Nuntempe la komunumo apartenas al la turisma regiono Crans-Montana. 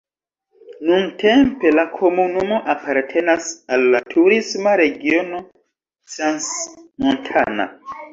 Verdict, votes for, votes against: rejected, 0, 2